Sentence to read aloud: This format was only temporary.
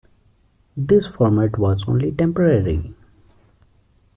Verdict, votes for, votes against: accepted, 2, 0